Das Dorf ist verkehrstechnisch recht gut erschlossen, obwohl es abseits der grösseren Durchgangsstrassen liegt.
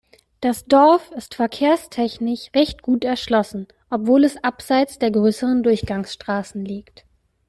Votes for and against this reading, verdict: 0, 2, rejected